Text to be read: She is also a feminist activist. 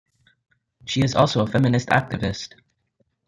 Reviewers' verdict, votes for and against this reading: accepted, 2, 1